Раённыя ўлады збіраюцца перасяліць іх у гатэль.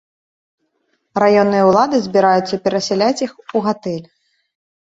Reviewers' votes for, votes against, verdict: 1, 2, rejected